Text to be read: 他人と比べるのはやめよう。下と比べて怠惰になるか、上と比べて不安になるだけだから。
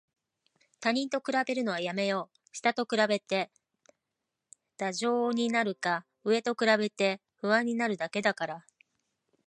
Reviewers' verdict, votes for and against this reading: accepted, 2, 1